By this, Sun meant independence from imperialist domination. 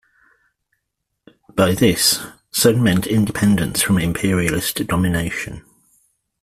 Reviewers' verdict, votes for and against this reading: accepted, 2, 0